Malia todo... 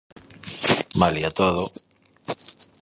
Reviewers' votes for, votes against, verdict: 2, 0, accepted